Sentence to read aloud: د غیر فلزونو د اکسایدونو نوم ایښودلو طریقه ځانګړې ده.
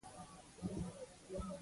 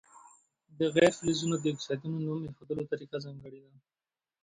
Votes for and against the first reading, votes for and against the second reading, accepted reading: 2, 0, 0, 2, first